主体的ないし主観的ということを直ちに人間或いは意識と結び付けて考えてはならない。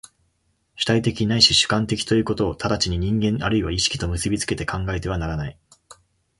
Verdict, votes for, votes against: accepted, 2, 0